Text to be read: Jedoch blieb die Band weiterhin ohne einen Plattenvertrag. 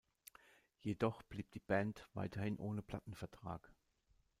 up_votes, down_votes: 0, 2